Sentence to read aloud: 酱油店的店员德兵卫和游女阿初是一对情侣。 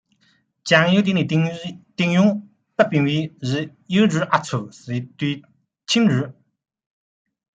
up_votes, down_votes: 0, 2